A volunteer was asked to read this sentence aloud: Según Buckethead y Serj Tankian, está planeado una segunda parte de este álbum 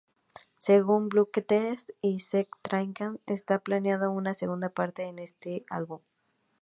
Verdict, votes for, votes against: rejected, 0, 4